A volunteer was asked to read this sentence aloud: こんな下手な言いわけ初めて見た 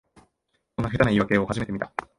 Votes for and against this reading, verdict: 1, 2, rejected